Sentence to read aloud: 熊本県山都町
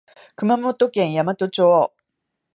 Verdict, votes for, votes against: accepted, 2, 0